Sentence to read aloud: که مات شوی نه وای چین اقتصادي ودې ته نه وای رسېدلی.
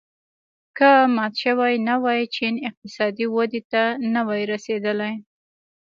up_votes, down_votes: 1, 2